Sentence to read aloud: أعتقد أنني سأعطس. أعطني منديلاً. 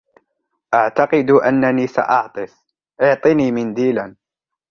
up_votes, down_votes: 2, 0